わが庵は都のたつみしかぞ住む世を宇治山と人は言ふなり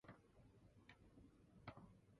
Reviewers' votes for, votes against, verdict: 0, 3, rejected